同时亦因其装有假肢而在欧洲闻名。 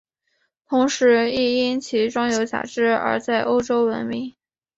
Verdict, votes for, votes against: accepted, 2, 0